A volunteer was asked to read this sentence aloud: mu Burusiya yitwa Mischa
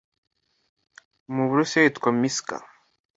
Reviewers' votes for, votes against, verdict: 2, 0, accepted